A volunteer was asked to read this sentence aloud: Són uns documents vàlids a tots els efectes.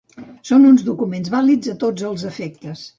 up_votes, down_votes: 2, 0